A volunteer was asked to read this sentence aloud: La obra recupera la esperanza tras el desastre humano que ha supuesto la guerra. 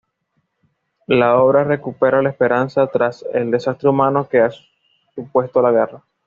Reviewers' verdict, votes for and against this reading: accepted, 2, 0